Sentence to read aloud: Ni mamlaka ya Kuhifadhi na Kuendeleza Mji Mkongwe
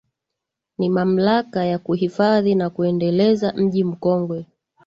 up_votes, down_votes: 2, 0